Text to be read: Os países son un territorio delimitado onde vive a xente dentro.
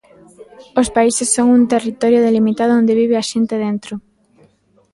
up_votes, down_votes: 1, 2